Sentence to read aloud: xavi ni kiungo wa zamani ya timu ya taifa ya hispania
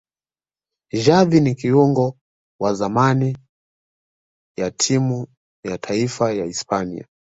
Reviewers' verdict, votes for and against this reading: accepted, 2, 0